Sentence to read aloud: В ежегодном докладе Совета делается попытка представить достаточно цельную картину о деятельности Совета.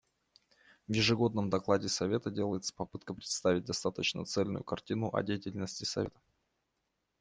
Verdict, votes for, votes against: rejected, 1, 2